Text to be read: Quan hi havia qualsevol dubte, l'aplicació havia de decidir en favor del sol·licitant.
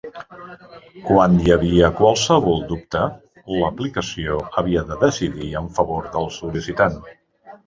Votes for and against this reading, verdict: 1, 2, rejected